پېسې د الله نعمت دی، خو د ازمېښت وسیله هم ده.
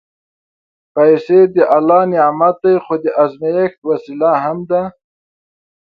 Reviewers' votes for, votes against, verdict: 7, 0, accepted